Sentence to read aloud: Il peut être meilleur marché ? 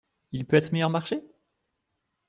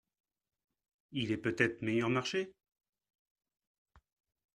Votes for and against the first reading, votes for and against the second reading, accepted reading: 2, 0, 0, 2, first